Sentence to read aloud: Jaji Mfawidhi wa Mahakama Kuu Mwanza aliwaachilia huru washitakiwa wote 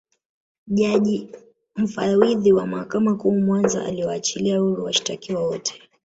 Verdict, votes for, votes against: rejected, 1, 2